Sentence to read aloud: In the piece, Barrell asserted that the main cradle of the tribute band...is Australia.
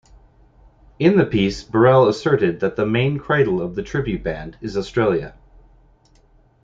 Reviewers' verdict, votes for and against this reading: accepted, 2, 0